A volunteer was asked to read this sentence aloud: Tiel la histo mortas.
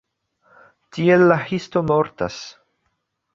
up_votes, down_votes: 2, 0